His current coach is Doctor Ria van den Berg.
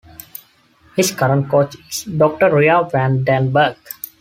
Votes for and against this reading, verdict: 2, 0, accepted